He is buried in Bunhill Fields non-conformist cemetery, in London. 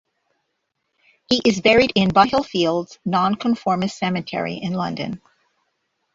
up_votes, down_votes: 1, 2